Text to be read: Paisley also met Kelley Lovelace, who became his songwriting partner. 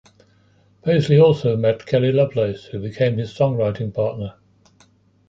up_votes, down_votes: 2, 1